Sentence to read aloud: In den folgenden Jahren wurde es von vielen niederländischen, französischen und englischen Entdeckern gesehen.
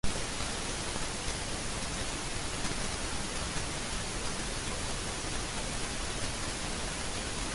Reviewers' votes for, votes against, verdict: 0, 2, rejected